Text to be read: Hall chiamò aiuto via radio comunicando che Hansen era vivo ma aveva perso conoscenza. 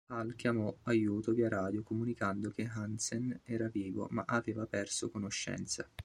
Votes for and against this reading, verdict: 2, 0, accepted